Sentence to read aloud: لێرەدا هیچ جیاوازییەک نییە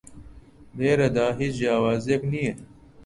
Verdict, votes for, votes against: accepted, 2, 0